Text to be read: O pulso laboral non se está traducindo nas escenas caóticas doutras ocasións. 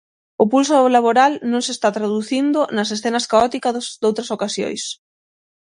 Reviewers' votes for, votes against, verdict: 0, 6, rejected